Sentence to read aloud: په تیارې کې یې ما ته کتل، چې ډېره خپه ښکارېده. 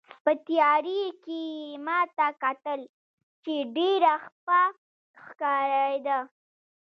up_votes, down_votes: 1, 2